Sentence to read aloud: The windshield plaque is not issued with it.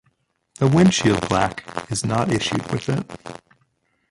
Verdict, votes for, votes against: rejected, 0, 2